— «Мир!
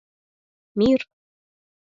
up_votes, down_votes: 4, 0